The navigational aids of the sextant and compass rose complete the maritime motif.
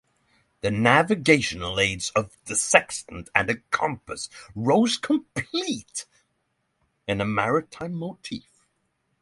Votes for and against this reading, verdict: 0, 3, rejected